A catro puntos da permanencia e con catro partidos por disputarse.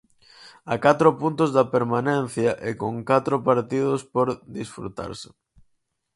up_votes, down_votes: 0, 4